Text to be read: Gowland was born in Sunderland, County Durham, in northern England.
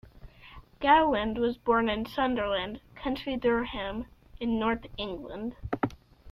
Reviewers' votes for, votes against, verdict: 0, 2, rejected